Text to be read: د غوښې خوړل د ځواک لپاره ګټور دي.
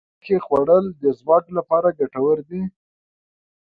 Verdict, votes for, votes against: rejected, 0, 2